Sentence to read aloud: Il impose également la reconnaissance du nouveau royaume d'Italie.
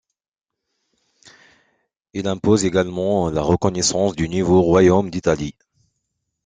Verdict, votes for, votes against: accepted, 2, 0